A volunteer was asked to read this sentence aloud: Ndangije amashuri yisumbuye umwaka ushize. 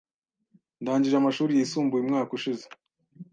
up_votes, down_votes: 2, 0